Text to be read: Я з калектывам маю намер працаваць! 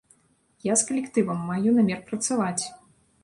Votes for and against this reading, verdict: 2, 0, accepted